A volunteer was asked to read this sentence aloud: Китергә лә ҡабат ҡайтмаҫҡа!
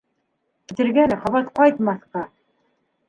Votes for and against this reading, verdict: 2, 0, accepted